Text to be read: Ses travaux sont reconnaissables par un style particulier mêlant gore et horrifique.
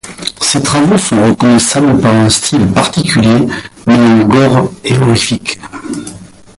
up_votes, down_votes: 2, 4